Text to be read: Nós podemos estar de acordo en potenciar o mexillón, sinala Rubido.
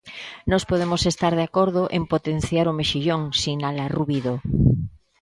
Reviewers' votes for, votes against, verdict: 2, 0, accepted